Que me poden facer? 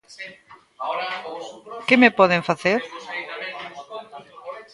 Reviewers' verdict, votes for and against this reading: rejected, 0, 2